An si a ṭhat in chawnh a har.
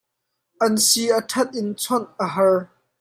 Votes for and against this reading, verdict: 2, 0, accepted